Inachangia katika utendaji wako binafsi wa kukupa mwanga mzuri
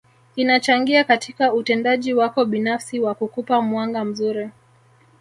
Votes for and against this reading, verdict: 1, 2, rejected